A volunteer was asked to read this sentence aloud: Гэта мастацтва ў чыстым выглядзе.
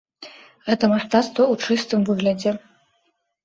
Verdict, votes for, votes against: accepted, 2, 0